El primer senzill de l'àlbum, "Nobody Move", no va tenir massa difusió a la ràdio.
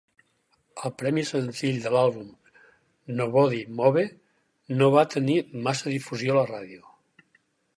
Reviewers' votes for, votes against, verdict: 0, 4, rejected